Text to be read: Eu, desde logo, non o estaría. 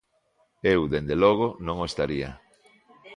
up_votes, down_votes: 1, 2